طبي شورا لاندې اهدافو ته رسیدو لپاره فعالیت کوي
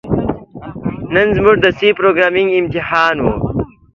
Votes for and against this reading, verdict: 0, 2, rejected